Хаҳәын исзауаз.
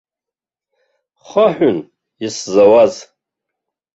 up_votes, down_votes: 1, 2